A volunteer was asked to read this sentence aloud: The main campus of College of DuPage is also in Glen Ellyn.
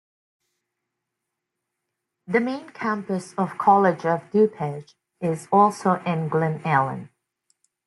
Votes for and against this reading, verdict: 2, 0, accepted